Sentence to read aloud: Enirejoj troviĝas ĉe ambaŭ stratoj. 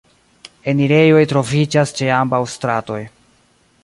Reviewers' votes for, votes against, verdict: 1, 2, rejected